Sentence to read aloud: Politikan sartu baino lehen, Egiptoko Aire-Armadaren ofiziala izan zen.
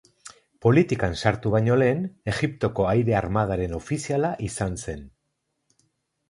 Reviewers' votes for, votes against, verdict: 2, 0, accepted